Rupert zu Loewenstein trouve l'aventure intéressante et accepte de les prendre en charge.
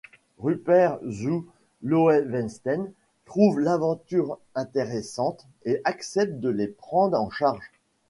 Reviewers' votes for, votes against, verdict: 0, 2, rejected